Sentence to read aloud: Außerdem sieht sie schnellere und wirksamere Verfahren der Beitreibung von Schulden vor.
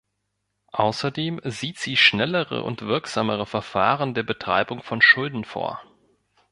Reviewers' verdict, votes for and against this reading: rejected, 1, 2